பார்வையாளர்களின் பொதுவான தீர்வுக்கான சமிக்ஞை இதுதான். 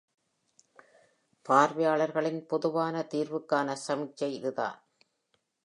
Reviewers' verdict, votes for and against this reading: accepted, 2, 0